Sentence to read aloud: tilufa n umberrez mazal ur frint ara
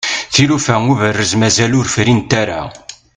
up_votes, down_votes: 1, 2